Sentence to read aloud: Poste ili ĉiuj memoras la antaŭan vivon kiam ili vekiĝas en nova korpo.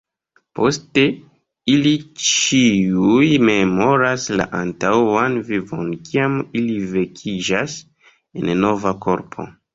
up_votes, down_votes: 3, 2